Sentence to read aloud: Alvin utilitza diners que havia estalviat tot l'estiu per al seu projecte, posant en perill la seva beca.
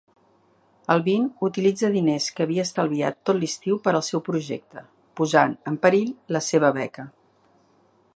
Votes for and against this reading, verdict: 3, 1, accepted